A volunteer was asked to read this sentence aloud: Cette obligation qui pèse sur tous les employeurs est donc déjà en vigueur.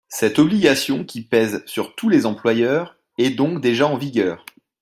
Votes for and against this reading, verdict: 2, 0, accepted